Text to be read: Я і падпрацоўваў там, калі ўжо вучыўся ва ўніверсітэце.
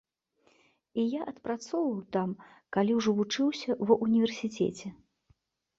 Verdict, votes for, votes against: rejected, 1, 2